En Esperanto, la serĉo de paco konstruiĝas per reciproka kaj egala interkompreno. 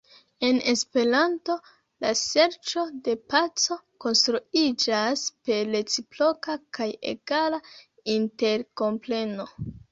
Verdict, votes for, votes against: rejected, 1, 2